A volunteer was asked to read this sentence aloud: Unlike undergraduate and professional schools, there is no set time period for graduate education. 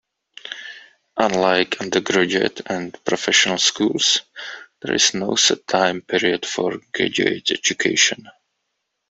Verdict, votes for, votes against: rejected, 1, 2